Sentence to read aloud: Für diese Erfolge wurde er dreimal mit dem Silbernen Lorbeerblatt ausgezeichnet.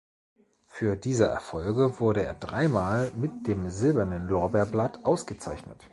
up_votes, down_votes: 2, 0